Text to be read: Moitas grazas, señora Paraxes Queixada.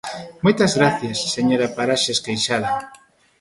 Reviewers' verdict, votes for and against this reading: rejected, 1, 2